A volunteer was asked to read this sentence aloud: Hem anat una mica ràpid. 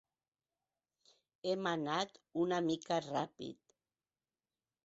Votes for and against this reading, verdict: 3, 0, accepted